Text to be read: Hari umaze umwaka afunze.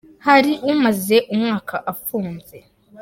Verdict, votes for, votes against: accepted, 3, 0